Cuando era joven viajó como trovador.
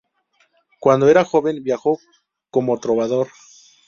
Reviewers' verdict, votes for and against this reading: rejected, 0, 2